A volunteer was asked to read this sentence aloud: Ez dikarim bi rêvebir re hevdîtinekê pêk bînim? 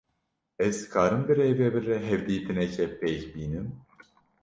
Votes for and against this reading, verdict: 2, 0, accepted